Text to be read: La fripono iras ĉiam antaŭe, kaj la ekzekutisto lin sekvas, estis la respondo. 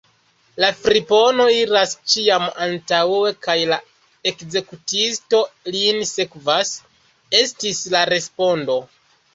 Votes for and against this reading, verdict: 2, 0, accepted